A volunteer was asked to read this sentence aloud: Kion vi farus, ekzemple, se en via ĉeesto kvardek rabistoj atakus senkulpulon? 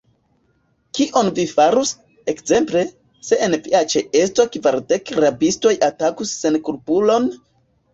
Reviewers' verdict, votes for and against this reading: rejected, 1, 2